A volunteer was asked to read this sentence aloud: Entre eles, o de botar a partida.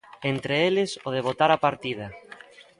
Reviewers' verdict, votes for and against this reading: accepted, 2, 0